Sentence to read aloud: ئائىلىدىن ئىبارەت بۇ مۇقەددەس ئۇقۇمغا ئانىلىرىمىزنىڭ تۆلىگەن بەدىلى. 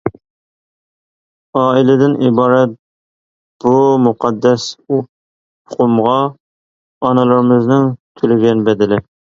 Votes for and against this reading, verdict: 1, 2, rejected